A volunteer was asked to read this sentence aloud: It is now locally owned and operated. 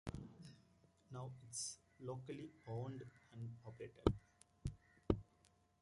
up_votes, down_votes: 0, 2